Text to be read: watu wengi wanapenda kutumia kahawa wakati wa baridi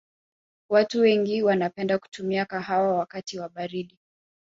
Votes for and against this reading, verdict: 3, 0, accepted